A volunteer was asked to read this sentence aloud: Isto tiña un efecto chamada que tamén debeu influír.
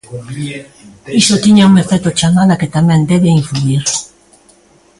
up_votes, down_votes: 0, 2